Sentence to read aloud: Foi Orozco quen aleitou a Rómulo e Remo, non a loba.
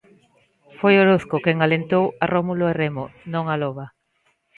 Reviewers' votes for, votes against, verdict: 1, 2, rejected